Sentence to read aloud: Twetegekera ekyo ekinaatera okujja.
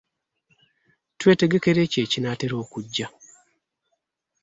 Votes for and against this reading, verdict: 2, 1, accepted